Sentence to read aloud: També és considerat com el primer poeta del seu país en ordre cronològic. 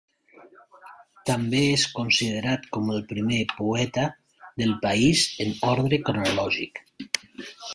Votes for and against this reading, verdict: 0, 2, rejected